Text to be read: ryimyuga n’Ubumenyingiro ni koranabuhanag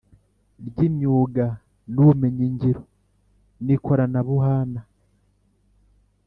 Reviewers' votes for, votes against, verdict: 2, 0, accepted